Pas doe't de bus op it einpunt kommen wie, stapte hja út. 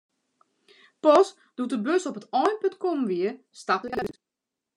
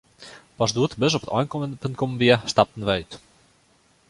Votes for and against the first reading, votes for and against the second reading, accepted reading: 2, 0, 0, 2, first